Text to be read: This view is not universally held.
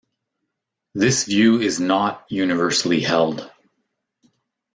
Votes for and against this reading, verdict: 2, 0, accepted